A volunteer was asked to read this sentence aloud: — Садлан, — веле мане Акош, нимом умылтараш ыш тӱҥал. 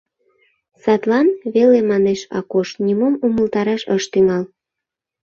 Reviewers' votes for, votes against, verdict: 2, 1, accepted